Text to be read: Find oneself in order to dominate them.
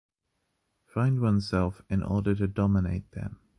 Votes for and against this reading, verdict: 2, 0, accepted